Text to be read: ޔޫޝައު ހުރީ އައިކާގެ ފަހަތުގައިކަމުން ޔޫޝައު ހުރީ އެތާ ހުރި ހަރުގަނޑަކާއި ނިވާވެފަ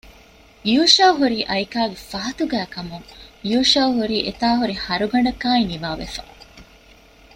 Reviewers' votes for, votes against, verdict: 2, 0, accepted